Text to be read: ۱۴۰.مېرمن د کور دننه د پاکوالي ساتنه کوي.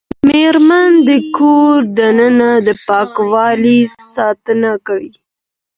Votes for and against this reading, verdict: 0, 2, rejected